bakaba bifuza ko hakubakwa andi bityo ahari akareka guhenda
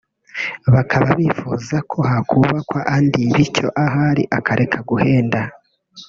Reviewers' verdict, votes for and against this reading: rejected, 0, 2